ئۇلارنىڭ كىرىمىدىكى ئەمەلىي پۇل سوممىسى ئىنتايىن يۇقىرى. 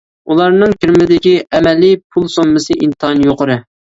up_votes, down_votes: 2, 0